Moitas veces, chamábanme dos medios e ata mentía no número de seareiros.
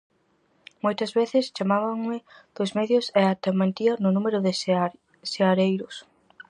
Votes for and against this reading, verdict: 0, 4, rejected